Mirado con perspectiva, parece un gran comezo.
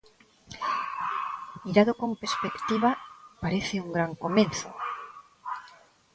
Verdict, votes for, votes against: rejected, 1, 3